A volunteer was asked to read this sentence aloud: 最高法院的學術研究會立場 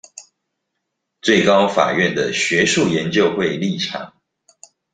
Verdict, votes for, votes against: accepted, 2, 0